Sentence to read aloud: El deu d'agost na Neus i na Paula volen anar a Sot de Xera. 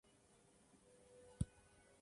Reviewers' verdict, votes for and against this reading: rejected, 0, 2